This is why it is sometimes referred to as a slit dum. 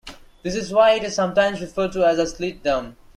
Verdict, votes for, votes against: accepted, 2, 1